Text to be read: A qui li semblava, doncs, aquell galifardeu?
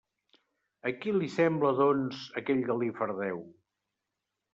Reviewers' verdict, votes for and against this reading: rejected, 1, 2